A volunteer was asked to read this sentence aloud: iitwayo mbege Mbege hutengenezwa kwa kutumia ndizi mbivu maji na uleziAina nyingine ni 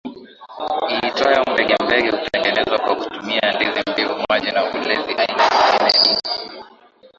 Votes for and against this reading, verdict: 4, 1, accepted